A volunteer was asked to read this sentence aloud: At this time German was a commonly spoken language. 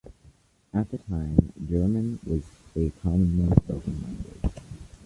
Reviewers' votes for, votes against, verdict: 0, 2, rejected